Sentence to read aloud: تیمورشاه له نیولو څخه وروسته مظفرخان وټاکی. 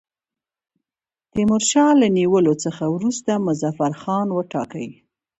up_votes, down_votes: 2, 1